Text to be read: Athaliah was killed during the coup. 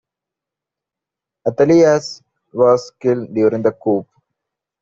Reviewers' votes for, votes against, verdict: 0, 2, rejected